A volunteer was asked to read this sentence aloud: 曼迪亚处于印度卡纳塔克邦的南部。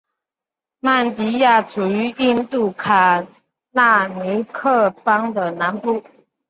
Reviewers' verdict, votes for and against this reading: accepted, 3, 1